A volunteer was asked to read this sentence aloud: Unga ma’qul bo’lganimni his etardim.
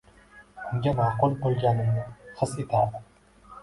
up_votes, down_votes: 2, 1